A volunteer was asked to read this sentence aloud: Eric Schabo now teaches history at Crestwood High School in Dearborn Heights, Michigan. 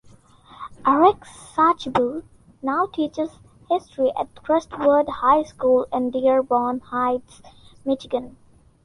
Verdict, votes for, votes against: accepted, 2, 0